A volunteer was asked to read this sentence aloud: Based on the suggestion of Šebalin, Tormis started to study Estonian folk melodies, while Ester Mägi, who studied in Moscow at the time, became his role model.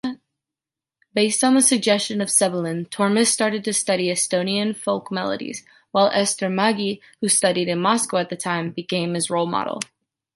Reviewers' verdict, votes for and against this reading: rejected, 0, 2